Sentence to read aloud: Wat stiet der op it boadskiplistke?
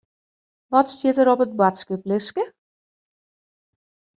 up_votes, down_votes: 2, 0